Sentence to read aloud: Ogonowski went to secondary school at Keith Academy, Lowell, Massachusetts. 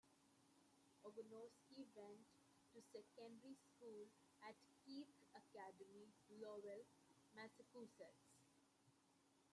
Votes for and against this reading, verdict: 0, 2, rejected